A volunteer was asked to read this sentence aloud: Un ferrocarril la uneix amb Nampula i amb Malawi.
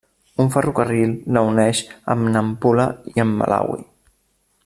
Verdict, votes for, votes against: accepted, 3, 0